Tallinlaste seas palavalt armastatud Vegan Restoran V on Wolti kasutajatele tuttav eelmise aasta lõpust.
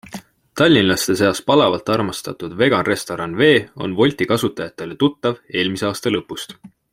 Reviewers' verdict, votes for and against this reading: accepted, 2, 0